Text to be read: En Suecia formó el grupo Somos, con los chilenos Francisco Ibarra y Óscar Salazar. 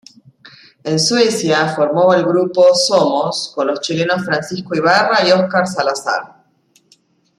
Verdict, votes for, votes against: accepted, 2, 0